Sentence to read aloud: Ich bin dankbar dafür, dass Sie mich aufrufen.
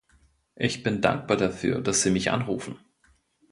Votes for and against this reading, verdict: 1, 2, rejected